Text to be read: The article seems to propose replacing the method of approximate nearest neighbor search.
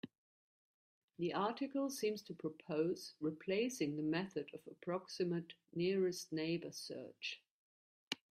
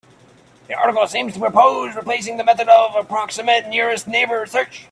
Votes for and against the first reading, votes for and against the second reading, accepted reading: 3, 0, 1, 3, first